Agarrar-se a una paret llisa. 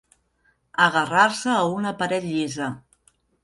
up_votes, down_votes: 1, 2